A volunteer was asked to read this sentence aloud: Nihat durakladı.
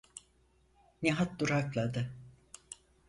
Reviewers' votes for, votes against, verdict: 4, 0, accepted